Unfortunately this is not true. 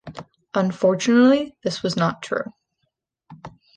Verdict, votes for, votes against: rejected, 0, 2